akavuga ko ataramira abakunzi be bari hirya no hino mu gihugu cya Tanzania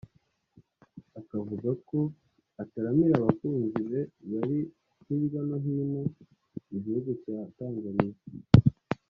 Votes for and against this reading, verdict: 2, 0, accepted